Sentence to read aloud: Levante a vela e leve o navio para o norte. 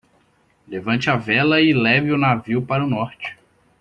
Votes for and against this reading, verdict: 2, 0, accepted